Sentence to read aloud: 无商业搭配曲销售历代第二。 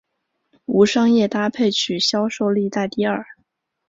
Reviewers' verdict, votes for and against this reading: accepted, 3, 0